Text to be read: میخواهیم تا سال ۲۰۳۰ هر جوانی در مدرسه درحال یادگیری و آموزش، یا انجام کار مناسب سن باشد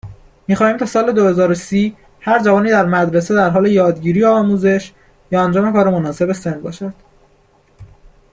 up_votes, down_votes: 0, 2